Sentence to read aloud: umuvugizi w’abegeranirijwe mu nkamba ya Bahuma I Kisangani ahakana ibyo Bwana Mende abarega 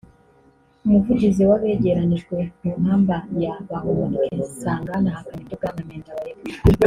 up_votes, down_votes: 1, 2